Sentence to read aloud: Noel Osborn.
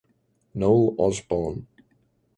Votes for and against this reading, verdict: 2, 1, accepted